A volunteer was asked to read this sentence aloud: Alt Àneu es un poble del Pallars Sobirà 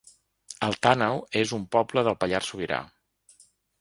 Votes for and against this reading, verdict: 2, 0, accepted